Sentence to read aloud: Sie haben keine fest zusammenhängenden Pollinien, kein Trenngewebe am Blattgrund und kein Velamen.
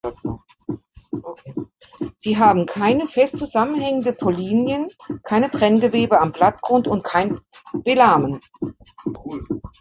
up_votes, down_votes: 2, 1